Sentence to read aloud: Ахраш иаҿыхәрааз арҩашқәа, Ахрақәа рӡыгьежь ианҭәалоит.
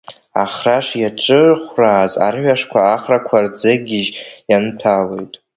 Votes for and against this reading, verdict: 0, 2, rejected